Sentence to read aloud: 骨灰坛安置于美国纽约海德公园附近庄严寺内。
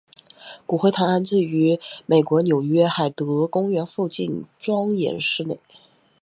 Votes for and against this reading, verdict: 3, 2, accepted